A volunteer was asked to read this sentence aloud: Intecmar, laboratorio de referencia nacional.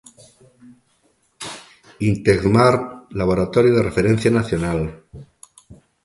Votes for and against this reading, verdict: 2, 0, accepted